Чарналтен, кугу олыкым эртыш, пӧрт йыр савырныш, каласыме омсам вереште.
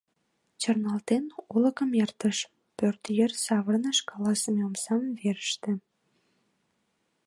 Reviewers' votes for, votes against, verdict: 0, 2, rejected